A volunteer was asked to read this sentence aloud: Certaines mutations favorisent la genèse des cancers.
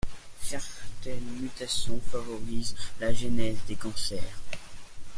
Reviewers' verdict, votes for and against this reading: accepted, 2, 0